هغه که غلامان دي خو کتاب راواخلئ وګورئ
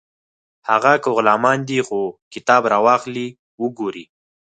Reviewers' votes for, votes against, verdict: 0, 4, rejected